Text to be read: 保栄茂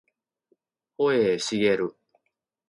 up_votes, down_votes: 2, 0